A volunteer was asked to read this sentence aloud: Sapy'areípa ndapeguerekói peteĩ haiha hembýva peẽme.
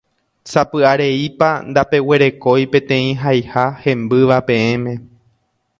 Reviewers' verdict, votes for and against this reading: accepted, 2, 0